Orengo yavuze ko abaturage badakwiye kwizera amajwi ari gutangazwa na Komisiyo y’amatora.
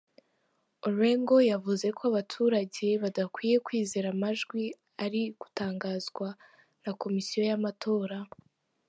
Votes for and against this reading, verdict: 1, 2, rejected